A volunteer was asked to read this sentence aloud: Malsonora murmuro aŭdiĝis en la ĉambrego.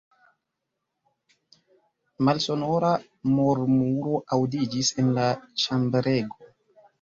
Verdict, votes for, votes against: rejected, 0, 2